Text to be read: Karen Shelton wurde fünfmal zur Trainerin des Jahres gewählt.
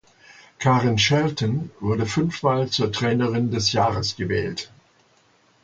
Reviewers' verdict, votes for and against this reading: accepted, 2, 0